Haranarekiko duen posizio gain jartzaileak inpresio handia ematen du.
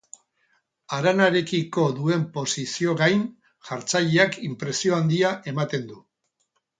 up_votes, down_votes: 2, 2